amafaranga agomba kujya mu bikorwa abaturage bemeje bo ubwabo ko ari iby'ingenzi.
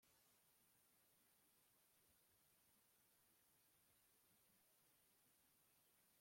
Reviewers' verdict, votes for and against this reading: rejected, 1, 2